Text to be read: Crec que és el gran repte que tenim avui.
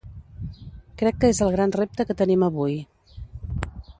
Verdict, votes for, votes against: accepted, 2, 0